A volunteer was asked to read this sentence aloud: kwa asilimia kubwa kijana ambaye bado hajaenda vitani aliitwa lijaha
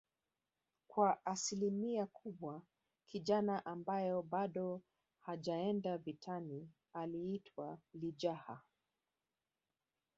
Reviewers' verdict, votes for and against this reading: rejected, 1, 3